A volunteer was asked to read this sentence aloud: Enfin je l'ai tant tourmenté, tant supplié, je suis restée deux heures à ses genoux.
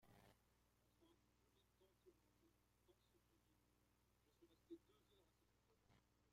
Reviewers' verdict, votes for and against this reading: rejected, 0, 2